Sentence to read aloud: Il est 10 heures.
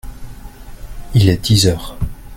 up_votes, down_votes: 0, 2